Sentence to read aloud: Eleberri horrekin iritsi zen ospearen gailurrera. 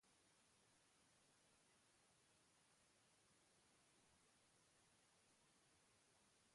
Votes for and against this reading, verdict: 0, 2, rejected